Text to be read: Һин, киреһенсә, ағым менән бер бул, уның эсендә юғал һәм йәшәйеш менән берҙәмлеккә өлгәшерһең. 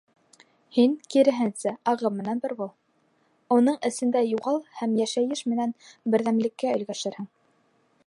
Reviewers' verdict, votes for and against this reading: accepted, 2, 0